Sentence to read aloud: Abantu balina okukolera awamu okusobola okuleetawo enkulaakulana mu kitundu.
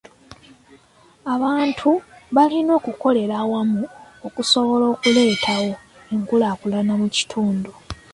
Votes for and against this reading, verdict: 2, 0, accepted